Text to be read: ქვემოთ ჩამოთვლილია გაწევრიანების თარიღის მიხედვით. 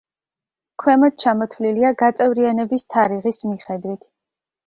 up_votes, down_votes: 2, 0